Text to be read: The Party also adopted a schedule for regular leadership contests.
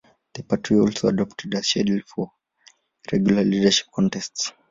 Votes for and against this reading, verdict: 1, 2, rejected